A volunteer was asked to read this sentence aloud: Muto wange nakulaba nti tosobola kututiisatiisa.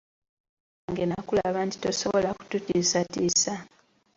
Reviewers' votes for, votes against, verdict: 2, 0, accepted